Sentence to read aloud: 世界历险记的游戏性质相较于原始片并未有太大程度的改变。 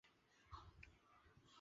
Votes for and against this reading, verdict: 0, 2, rejected